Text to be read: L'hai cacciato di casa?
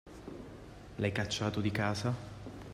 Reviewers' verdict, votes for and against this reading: accepted, 2, 0